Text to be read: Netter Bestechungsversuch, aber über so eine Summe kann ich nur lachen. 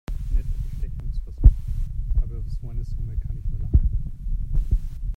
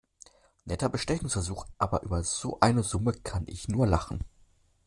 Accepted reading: second